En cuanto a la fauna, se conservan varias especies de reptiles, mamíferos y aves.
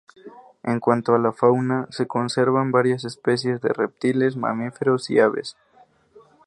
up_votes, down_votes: 2, 0